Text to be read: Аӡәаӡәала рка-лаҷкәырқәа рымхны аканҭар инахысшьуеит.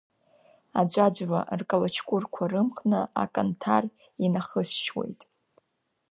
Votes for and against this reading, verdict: 1, 2, rejected